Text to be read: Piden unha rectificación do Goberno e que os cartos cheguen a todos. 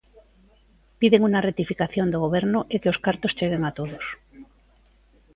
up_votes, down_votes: 0, 2